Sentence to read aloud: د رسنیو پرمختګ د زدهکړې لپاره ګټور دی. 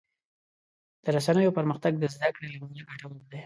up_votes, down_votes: 1, 2